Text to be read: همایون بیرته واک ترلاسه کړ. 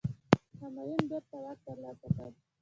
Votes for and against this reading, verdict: 2, 0, accepted